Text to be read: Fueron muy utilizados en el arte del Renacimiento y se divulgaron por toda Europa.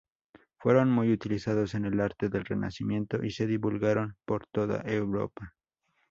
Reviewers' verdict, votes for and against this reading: accepted, 4, 0